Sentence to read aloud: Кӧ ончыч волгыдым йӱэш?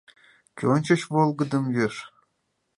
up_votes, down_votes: 2, 0